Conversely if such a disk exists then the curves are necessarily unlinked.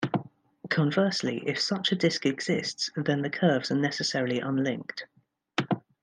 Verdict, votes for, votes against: accepted, 2, 0